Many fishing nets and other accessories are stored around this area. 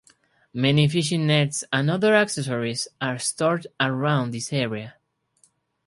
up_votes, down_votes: 4, 0